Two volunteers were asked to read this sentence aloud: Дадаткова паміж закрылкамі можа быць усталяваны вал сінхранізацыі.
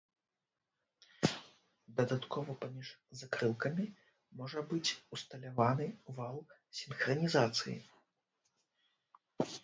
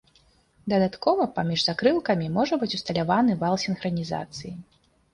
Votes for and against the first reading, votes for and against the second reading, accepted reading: 0, 2, 3, 0, second